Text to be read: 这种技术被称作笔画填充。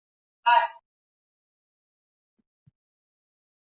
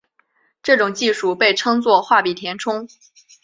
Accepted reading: second